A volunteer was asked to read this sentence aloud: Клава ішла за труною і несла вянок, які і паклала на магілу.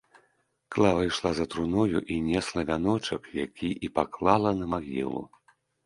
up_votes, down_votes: 0, 2